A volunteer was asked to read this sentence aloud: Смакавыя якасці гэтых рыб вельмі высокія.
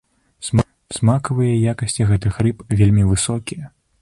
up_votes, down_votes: 0, 4